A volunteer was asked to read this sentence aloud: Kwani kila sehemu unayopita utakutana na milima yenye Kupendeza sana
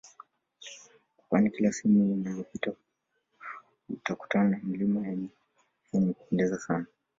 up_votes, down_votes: 1, 2